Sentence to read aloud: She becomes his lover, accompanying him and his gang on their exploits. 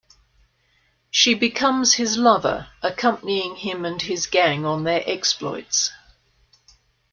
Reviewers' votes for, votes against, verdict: 2, 0, accepted